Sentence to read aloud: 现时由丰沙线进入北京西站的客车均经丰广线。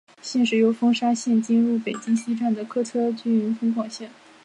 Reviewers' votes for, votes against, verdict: 2, 1, accepted